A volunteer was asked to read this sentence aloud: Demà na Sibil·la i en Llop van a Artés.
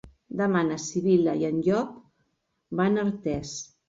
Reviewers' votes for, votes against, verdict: 3, 0, accepted